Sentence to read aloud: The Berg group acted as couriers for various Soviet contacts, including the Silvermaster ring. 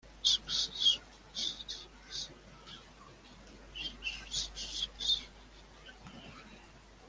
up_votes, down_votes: 1, 2